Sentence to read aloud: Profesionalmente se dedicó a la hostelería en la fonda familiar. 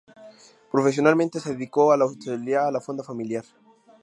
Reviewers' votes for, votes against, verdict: 2, 0, accepted